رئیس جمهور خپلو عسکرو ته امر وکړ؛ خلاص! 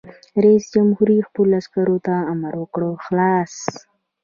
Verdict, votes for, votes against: accepted, 2, 0